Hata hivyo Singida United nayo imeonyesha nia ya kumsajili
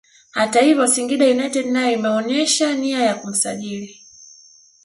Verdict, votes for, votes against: rejected, 0, 2